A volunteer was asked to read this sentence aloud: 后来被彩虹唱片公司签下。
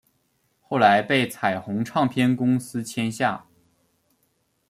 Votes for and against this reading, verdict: 2, 0, accepted